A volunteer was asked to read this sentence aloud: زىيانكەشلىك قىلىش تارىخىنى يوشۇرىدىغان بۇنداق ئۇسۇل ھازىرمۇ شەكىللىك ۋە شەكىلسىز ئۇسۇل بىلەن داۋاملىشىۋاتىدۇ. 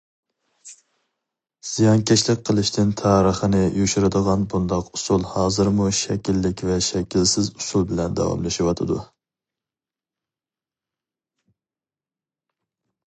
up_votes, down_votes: 0, 2